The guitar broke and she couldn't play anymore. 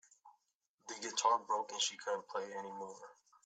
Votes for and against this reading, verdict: 3, 1, accepted